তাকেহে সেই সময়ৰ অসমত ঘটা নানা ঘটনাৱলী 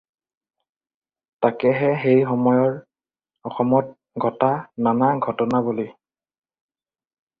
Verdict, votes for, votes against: accepted, 2, 0